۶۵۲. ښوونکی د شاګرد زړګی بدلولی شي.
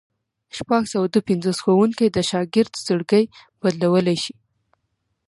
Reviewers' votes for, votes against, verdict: 0, 2, rejected